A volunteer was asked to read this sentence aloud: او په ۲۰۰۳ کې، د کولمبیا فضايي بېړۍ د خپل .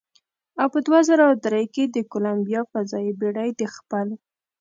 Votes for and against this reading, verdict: 0, 2, rejected